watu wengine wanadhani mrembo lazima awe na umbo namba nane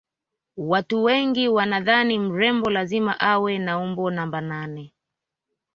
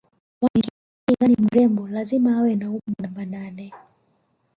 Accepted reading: first